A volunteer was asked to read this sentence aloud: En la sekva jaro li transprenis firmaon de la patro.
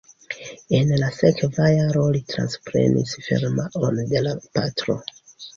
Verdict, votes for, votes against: accepted, 2, 1